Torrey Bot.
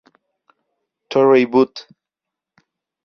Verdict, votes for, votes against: accepted, 2, 0